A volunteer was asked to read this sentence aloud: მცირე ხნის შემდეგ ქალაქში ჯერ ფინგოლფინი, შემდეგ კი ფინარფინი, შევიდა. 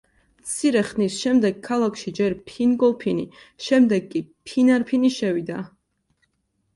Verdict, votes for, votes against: accepted, 2, 0